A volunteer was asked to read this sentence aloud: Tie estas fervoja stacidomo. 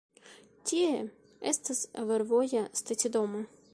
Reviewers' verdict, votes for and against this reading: rejected, 0, 2